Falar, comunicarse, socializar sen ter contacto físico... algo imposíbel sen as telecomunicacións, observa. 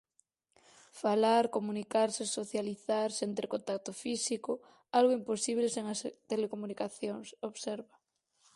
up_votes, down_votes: 0, 4